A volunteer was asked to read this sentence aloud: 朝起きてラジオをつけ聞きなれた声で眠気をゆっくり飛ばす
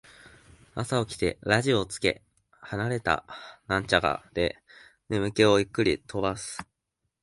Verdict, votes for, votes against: rejected, 0, 2